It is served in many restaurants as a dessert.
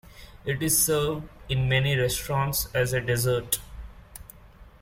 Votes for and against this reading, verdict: 2, 1, accepted